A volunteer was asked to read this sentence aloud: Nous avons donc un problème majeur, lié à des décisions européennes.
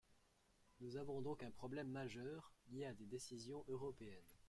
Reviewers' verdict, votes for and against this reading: accepted, 2, 0